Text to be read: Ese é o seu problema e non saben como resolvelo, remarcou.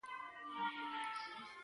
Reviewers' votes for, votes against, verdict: 0, 4, rejected